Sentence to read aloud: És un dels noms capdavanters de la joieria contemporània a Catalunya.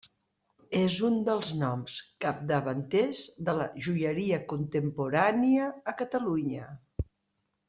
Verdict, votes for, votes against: accepted, 2, 0